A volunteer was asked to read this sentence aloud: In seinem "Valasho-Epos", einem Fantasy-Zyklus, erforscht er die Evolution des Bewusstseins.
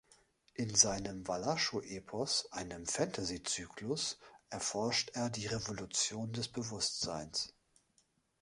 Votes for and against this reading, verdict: 0, 2, rejected